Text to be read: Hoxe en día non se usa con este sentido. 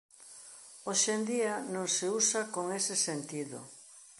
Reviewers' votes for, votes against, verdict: 0, 2, rejected